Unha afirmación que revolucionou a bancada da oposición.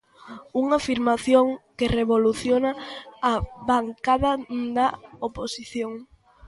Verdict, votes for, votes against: rejected, 0, 2